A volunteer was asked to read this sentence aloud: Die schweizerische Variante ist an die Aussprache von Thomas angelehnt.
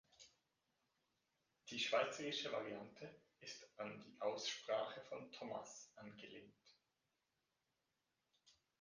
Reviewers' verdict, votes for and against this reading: rejected, 1, 2